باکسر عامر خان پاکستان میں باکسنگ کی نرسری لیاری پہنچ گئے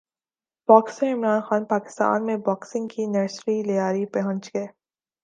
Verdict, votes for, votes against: rejected, 0, 2